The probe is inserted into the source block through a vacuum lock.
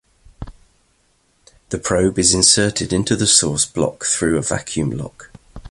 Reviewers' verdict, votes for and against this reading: accepted, 2, 0